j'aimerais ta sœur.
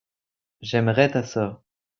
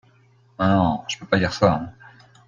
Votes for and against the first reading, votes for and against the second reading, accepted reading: 2, 0, 0, 2, first